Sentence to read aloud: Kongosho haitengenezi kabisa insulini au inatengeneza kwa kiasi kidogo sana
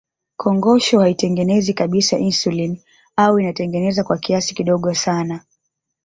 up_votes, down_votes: 1, 2